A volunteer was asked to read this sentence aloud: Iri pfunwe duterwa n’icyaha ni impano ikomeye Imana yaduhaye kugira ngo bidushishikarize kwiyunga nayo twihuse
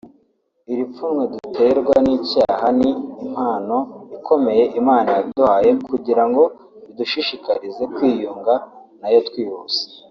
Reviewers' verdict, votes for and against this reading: accepted, 2, 1